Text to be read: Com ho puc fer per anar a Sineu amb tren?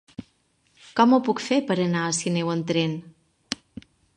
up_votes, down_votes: 1, 2